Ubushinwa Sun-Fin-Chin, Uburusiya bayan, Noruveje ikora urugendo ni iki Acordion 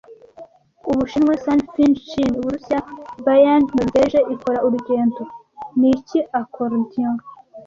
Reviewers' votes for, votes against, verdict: 2, 0, accepted